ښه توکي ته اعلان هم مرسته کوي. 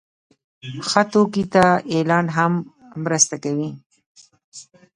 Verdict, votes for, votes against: rejected, 1, 2